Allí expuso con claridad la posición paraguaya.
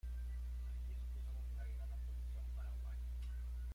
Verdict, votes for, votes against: rejected, 0, 2